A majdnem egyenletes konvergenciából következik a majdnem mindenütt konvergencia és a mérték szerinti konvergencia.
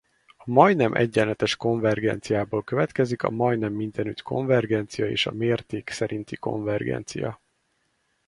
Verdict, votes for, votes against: rejected, 0, 4